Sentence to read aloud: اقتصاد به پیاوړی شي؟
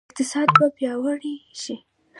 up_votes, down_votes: 2, 1